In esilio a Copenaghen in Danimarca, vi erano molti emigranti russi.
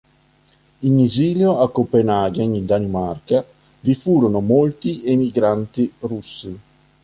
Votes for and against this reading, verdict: 0, 3, rejected